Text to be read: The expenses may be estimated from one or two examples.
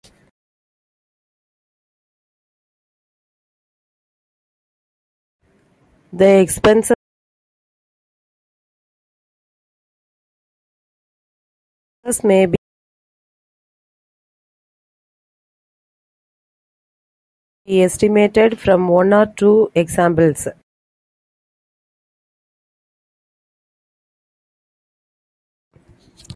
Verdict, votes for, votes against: rejected, 0, 2